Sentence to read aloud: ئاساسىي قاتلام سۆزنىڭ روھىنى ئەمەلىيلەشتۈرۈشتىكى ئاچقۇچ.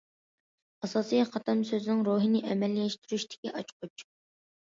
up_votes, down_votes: 2, 0